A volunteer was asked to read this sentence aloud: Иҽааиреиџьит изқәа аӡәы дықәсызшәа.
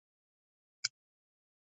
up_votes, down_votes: 0, 2